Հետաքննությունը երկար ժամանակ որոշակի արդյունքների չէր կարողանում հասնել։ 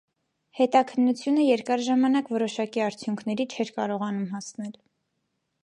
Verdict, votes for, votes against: accepted, 2, 0